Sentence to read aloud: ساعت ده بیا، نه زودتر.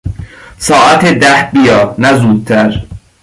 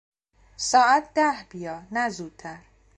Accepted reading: first